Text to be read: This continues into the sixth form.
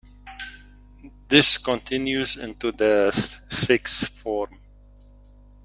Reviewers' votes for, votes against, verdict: 1, 2, rejected